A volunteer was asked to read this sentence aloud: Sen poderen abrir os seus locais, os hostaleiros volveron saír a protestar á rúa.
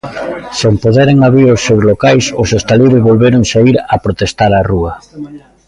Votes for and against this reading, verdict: 1, 2, rejected